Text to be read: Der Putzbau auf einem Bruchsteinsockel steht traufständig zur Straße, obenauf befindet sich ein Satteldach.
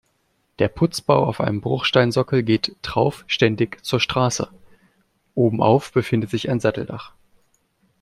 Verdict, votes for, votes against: rejected, 0, 2